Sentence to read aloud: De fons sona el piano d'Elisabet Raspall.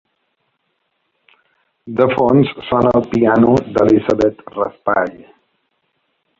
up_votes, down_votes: 0, 2